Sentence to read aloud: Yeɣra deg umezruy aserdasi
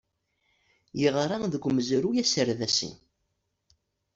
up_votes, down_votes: 2, 0